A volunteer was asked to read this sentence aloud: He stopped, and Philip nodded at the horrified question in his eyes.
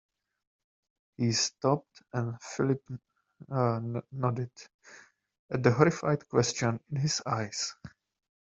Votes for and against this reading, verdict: 0, 2, rejected